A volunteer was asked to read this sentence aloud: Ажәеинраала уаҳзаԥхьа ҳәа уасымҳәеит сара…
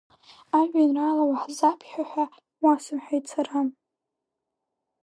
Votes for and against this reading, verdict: 0, 2, rejected